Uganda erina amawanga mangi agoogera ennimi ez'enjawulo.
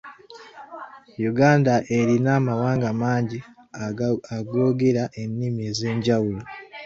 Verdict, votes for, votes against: rejected, 1, 2